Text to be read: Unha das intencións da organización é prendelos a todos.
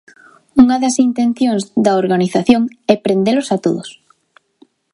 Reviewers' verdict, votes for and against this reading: accepted, 2, 0